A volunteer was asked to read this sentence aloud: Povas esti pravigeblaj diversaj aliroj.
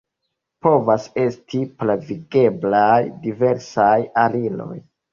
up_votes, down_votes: 2, 0